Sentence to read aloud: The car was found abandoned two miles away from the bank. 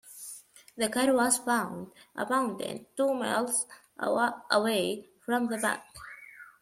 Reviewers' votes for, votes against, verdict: 0, 2, rejected